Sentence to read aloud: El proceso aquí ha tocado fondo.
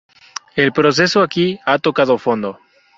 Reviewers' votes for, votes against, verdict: 4, 0, accepted